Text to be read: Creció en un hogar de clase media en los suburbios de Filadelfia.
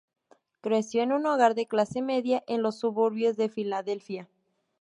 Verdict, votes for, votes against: accepted, 2, 0